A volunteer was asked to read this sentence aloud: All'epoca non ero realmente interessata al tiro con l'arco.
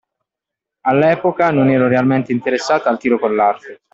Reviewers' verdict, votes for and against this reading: accepted, 2, 0